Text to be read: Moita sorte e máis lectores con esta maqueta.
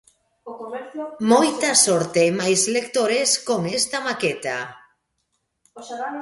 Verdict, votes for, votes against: rejected, 0, 2